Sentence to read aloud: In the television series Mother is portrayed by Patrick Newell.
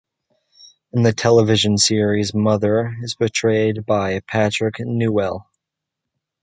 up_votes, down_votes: 1, 2